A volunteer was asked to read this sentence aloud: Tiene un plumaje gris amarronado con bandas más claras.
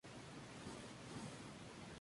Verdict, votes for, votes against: rejected, 0, 2